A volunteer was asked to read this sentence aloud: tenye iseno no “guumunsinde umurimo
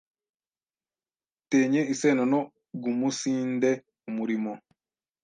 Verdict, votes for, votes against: rejected, 1, 2